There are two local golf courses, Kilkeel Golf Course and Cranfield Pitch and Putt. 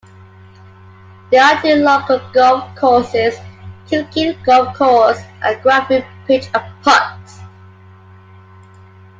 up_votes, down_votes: 2, 1